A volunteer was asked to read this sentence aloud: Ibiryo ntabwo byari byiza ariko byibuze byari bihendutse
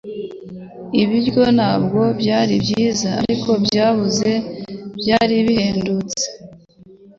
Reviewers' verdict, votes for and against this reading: rejected, 1, 2